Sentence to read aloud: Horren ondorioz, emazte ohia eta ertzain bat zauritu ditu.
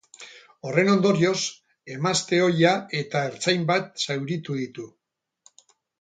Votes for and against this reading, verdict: 4, 0, accepted